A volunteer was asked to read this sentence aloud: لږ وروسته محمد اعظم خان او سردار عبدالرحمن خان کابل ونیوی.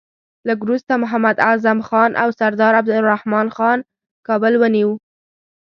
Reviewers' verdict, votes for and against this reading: rejected, 0, 2